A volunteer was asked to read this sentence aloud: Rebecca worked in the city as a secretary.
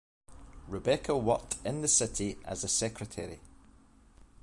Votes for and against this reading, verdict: 2, 0, accepted